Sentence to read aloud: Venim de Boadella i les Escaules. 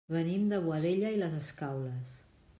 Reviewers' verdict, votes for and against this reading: accepted, 2, 0